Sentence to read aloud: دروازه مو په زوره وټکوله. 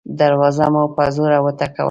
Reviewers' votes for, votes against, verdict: 1, 2, rejected